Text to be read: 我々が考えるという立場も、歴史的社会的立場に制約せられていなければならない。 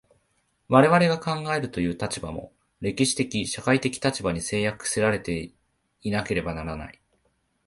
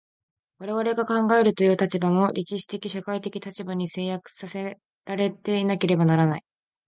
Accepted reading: second